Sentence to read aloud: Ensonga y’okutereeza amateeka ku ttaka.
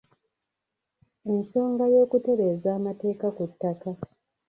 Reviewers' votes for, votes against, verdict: 1, 2, rejected